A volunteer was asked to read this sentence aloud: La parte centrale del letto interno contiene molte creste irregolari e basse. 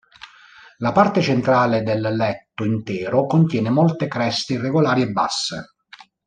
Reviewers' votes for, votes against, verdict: 0, 2, rejected